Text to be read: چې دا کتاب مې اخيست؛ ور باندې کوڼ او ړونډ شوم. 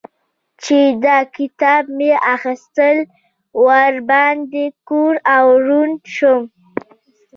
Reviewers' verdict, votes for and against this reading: rejected, 1, 2